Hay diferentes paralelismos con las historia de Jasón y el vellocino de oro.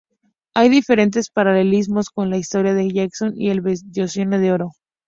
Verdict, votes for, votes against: rejected, 0, 2